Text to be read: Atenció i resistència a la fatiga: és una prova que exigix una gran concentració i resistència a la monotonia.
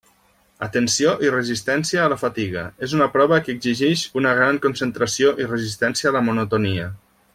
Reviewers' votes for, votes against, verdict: 2, 0, accepted